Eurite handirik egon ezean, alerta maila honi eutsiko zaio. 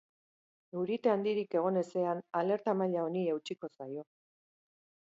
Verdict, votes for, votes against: accepted, 2, 1